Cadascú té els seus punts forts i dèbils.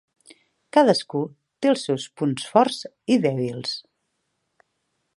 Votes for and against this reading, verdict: 3, 0, accepted